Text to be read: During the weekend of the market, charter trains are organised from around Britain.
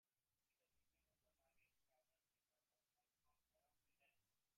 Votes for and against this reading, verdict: 1, 2, rejected